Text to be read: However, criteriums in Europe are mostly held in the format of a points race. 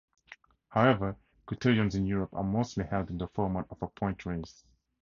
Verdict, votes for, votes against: rejected, 0, 2